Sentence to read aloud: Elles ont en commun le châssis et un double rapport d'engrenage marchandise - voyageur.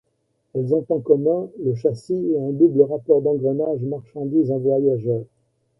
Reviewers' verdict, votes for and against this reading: accepted, 2, 0